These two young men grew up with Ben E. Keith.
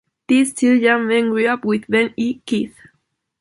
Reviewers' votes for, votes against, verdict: 2, 0, accepted